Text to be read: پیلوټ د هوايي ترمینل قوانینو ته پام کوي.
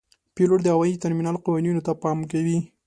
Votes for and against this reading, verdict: 2, 0, accepted